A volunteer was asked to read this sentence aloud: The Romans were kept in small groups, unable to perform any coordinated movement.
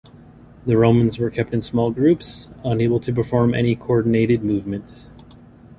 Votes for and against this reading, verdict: 2, 0, accepted